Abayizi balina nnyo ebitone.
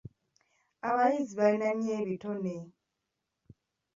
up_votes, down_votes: 2, 1